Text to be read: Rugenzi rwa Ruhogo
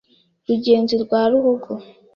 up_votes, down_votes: 2, 0